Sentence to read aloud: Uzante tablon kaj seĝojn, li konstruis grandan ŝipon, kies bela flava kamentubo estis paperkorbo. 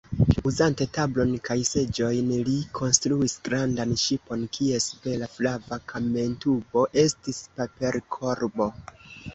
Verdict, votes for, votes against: rejected, 0, 2